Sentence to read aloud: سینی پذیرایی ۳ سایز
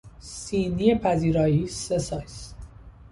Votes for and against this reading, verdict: 0, 2, rejected